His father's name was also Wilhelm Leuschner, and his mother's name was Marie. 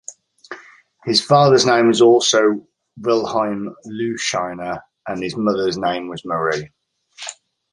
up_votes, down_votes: 0, 2